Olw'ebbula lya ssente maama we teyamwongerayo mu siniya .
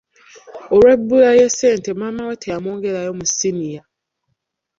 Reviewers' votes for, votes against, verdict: 0, 2, rejected